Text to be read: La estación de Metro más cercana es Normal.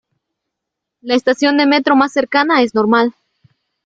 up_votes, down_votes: 2, 0